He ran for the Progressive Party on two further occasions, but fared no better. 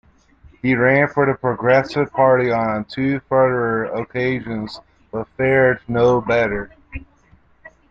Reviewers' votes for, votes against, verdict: 2, 0, accepted